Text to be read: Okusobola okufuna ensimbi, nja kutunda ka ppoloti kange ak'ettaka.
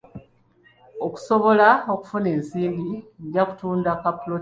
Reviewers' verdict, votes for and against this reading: rejected, 0, 2